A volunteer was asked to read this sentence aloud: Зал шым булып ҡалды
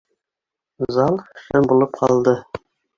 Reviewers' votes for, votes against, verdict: 0, 2, rejected